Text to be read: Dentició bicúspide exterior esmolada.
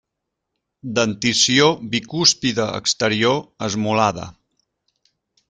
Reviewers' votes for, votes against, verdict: 2, 0, accepted